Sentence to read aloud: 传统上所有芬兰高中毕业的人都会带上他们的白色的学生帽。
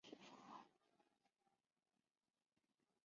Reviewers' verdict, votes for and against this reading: rejected, 0, 2